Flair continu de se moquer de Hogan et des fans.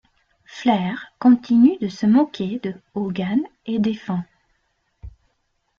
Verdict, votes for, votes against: rejected, 0, 2